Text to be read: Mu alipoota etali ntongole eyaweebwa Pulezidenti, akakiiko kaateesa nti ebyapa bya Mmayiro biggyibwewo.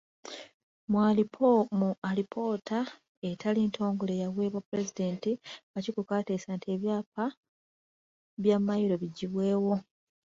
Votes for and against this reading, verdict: 3, 0, accepted